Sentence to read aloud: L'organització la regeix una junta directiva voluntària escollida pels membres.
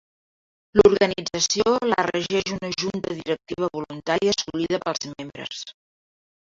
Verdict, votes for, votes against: accepted, 2, 1